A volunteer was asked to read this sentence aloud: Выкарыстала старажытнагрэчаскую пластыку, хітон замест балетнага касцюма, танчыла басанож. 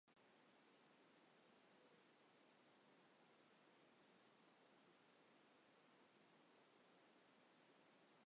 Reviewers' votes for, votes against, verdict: 0, 3, rejected